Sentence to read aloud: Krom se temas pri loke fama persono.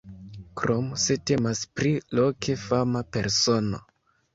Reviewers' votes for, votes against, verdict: 2, 1, accepted